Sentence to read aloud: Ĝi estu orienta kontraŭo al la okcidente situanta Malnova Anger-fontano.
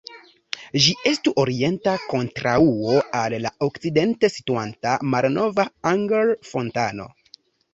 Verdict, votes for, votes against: rejected, 1, 2